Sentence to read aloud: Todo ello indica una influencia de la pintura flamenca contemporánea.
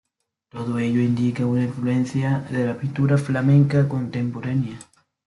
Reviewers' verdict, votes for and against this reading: accepted, 2, 0